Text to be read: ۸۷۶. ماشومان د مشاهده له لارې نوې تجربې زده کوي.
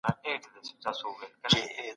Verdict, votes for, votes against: rejected, 0, 2